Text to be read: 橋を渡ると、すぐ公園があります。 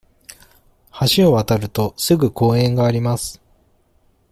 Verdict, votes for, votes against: accepted, 2, 0